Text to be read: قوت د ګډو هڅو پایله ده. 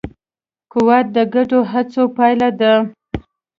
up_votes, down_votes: 2, 0